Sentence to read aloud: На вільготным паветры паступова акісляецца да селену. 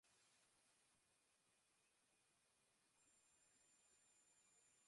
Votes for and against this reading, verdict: 0, 2, rejected